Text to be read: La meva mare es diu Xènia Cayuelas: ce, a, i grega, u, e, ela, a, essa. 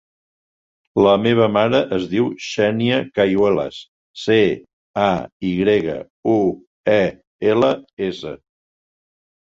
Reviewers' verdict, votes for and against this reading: rejected, 0, 2